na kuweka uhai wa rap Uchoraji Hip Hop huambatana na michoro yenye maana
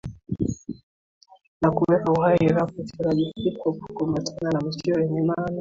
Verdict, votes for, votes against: rejected, 1, 2